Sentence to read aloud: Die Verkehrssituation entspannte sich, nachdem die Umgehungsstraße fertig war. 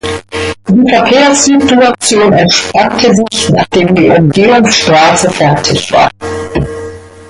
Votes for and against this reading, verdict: 0, 2, rejected